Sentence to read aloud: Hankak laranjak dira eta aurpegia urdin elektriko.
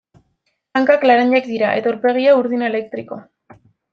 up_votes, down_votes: 1, 2